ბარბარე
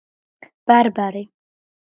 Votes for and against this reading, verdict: 2, 0, accepted